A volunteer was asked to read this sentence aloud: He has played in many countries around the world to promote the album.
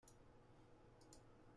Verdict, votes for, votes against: rejected, 0, 2